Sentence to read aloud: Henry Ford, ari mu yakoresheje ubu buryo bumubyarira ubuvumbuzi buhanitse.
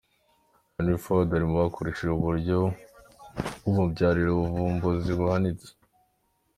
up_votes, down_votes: 3, 1